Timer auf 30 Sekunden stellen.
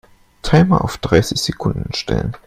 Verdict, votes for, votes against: rejected, 0, 2